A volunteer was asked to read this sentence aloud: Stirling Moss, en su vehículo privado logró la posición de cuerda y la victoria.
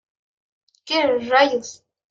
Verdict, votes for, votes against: rejected, 0, 2